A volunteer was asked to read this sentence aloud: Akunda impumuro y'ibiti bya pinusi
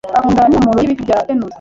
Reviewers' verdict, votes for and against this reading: rejected, 1, 2